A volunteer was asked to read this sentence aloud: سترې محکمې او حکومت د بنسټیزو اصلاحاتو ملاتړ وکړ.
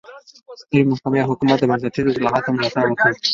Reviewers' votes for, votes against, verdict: 3, 2, accepted